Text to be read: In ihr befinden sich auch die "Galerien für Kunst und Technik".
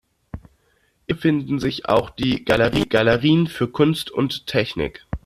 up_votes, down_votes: 0, 2